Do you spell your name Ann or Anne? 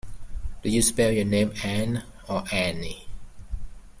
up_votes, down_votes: 2, 1